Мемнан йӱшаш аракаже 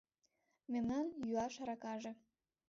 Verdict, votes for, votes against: rejected, 2, 3